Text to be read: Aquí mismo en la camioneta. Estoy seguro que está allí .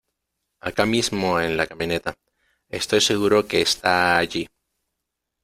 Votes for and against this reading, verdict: 0, 2, rejected